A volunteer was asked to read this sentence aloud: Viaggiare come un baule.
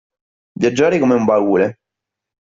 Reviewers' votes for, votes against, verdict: 1, 2, rejected